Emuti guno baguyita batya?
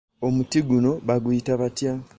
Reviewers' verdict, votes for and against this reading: rejected, 1, 2